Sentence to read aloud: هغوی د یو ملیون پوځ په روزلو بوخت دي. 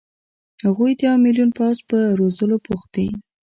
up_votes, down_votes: 0, 2